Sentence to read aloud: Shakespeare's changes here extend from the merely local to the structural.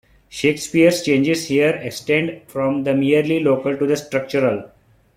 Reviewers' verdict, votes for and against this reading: accepted, 2, 1